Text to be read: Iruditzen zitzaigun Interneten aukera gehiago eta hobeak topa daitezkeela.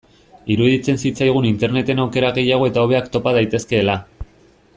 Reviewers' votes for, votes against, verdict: 2, 0, accepted